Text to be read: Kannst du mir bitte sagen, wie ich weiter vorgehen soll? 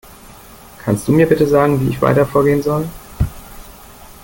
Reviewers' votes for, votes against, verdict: 2, 0, accepted